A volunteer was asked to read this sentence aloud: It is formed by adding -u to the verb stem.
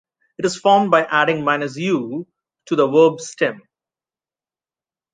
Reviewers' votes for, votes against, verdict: 1, 2, rejected